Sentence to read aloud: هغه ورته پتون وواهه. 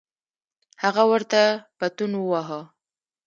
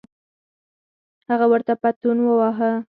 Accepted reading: second